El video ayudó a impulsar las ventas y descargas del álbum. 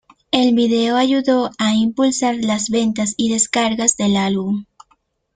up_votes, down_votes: 1, 2